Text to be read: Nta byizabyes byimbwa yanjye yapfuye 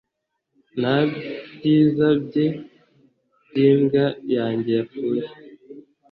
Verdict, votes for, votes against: accepted, 2, 0